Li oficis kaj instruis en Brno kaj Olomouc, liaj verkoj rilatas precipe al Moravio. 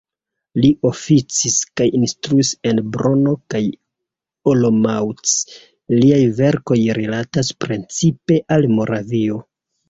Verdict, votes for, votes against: accepted, 2, 0